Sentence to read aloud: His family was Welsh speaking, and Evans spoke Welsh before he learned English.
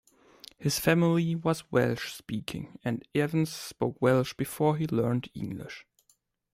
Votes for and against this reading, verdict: 2, 0, accepted